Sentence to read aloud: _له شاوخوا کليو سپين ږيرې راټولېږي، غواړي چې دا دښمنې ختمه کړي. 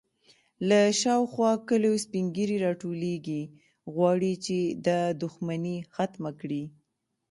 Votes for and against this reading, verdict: 0, 2, rejected